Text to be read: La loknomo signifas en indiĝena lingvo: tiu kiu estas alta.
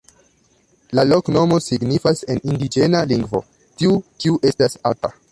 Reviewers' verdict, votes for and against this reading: rejected, 1, 2